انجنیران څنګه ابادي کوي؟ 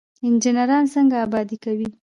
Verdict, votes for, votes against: accepted, 2, 0